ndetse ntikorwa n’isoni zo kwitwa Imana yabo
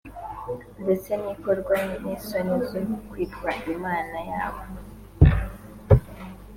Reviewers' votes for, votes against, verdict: 2, 0, accepted